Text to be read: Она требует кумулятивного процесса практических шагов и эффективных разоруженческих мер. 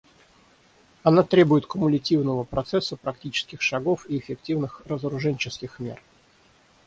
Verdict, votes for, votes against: rejected, 3, 3